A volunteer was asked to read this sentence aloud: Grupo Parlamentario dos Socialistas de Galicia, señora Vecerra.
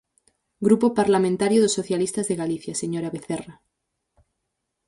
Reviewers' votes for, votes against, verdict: 4, 0, accepted